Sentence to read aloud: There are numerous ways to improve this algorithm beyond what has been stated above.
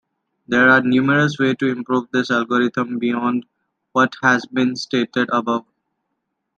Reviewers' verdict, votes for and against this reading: accepted, 2, 1